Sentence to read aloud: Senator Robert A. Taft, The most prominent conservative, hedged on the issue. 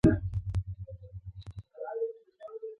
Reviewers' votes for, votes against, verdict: 0, 2, rejected